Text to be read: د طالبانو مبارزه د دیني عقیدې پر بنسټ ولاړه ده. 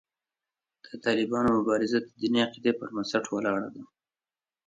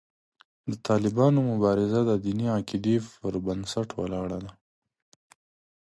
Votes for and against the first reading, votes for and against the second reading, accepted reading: 1, 2, 3, 0, second